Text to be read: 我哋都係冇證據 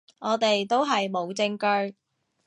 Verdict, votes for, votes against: accepted, 3, 0